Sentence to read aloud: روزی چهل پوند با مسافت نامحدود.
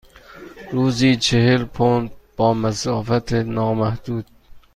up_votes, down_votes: 2, 0